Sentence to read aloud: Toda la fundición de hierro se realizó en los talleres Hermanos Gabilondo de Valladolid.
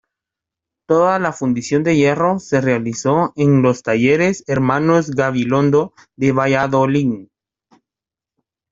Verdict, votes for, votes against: rejected, 1, 2